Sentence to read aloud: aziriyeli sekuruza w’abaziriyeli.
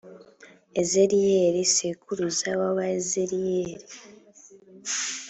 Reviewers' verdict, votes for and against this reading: rejected, 1, 2